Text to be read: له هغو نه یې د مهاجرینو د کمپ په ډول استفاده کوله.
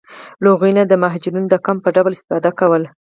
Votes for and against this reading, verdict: 2, 4, rejected